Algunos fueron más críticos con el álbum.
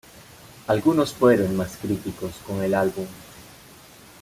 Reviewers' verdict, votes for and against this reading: accepted, 2, 0